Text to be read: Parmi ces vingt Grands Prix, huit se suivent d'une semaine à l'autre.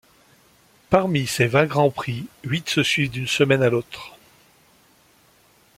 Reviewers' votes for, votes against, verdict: 2, 0, accepted